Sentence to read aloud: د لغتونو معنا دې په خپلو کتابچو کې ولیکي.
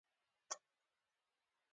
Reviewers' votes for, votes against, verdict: 2, 1, accepted